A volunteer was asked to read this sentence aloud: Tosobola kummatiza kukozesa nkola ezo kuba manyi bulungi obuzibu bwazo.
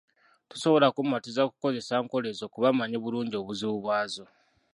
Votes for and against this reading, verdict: 0, 2, rejected